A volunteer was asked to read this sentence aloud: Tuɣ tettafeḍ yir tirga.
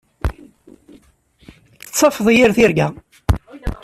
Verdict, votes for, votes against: rejected, 1, 2